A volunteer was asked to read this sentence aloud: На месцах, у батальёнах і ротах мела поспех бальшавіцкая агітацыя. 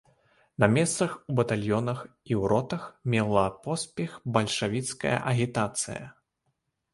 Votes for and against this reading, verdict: 0, 2, rejected